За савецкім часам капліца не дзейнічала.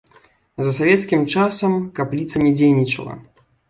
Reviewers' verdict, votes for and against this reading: accepted, 2, 0